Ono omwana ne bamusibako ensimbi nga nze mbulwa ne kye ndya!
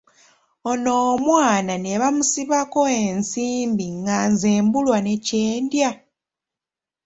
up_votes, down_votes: 3, 0